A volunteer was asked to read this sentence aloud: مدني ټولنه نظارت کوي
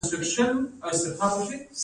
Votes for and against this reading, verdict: 2, 1, accepted